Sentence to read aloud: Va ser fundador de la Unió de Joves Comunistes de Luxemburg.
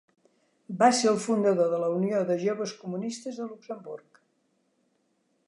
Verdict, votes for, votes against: rejected, 0, 2